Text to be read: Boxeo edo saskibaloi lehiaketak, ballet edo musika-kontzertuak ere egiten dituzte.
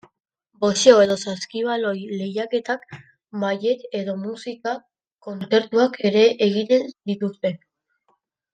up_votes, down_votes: 1, 2